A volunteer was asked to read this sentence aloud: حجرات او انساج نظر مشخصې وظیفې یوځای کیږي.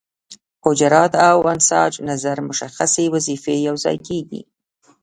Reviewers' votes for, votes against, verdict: 0, 2, rejected